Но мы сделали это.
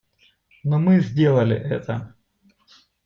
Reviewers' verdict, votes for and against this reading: accepted, 2, 0